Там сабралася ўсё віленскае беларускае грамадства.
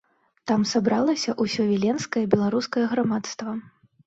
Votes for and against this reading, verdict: 1, 2, rejected